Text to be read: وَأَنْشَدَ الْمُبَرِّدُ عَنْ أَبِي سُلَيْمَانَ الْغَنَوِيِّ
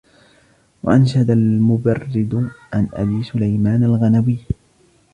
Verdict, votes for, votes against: rejected, 1, 2